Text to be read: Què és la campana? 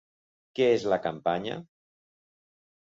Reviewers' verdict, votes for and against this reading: rejected, 0, 2